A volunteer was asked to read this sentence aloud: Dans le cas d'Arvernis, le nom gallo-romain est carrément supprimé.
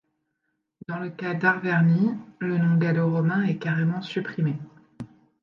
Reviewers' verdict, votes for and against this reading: rejected, 1, 2